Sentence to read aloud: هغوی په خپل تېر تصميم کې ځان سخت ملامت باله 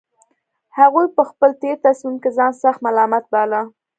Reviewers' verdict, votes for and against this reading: accepted, 2, 0